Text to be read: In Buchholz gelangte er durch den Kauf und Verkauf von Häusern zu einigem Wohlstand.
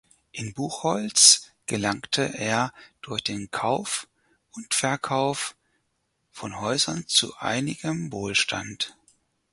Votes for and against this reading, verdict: 4, 0, accepted